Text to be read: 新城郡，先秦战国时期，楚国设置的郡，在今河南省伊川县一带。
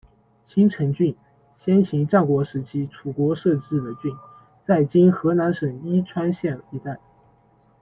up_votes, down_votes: 2, 0